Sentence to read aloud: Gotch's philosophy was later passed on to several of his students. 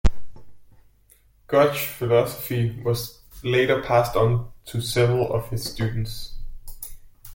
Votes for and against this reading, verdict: 2, 0, accepted